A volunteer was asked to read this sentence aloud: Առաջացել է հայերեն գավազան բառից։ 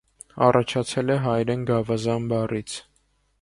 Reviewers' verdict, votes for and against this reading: accepted, 3, 0